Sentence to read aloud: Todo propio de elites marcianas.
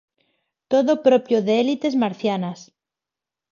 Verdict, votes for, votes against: rejected, 0, 4